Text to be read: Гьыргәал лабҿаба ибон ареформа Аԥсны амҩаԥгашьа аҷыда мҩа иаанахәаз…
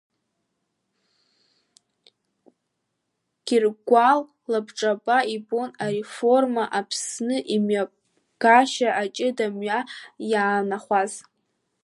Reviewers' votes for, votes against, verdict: 0, 2, rejected